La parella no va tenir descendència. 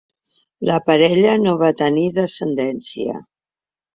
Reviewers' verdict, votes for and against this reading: accepted, 2, 0